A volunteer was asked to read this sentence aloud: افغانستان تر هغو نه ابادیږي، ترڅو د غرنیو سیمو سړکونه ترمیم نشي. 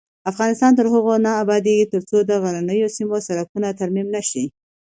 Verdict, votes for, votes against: accepted, 2, 0